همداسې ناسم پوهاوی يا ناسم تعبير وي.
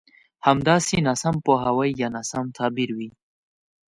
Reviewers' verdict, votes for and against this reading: accepted, 2, 0